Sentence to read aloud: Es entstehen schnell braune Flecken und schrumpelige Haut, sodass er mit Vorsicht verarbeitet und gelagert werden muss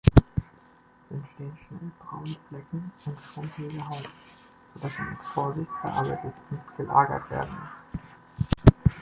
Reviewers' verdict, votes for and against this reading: rejected, 0, 2